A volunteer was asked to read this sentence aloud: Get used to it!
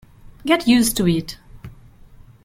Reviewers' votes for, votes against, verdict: 2, 1, accepted